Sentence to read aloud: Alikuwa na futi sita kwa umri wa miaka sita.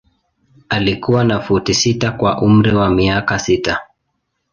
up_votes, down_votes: 2, 0